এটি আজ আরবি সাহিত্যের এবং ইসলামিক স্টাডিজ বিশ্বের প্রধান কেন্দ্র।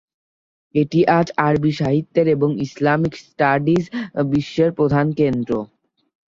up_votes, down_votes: 2, 0